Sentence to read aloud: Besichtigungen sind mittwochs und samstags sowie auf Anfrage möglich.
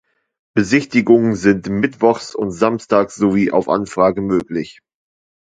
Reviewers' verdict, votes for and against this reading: accepted, 2, 0